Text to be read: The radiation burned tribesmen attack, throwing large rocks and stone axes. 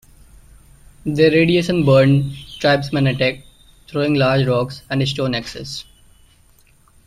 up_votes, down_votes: 1, 2